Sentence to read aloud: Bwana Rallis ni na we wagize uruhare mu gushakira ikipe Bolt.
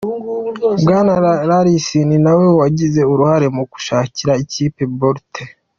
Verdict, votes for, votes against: accepted, 2, 0